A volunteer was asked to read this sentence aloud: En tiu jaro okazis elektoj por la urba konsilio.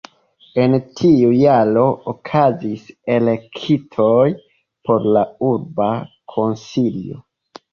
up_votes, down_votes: 1, 2